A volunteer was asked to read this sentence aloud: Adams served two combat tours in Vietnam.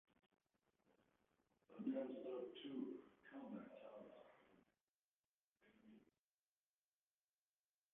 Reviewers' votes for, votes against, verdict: 0, 2, rejected